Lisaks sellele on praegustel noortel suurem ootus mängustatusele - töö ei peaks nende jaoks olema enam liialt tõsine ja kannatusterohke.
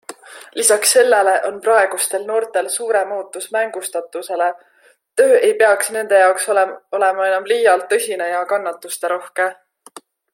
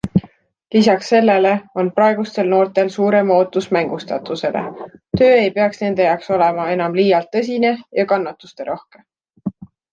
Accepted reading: second